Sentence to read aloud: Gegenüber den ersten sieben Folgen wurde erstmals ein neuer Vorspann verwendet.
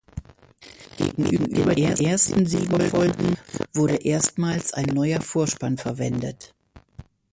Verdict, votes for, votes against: rejected, 0, 2